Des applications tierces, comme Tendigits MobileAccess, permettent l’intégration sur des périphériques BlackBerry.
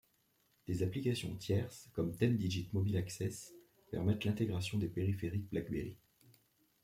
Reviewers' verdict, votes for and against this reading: rejected, 0, 2